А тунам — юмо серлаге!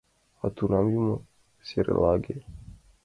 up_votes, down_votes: 2, 1